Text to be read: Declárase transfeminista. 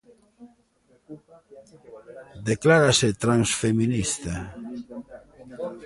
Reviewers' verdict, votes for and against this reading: rejected, 0, 2